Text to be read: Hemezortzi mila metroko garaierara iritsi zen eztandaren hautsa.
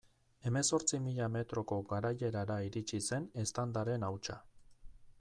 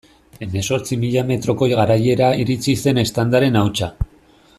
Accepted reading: first